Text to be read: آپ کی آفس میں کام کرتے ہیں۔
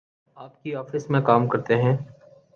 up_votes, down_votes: 2, 0